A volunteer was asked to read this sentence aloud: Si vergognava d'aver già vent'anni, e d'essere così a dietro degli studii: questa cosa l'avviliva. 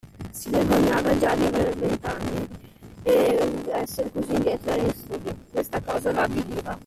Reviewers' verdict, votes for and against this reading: rejected, 0, 2